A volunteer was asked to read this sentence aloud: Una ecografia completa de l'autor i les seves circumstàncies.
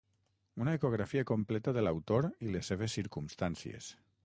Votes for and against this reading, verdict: 6, 0, accepted